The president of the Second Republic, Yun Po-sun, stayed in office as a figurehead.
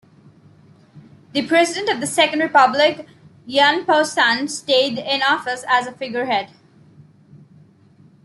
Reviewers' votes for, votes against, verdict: 2, 0, accepted